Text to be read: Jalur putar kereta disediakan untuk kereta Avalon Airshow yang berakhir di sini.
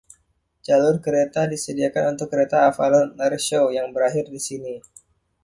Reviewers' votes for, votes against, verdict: 1, 2, rejected